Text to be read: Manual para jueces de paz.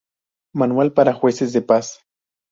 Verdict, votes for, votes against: rejected, 0, 2